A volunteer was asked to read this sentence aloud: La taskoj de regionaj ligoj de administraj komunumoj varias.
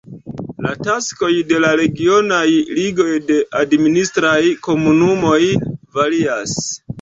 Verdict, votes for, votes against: accepted, 2, 0